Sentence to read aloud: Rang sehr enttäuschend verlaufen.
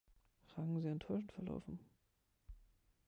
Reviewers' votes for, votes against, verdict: 0, 2, rejected